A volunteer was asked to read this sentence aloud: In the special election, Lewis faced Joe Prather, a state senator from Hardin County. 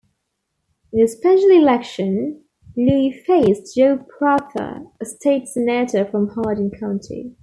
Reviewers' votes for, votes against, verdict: 1, 2, rejected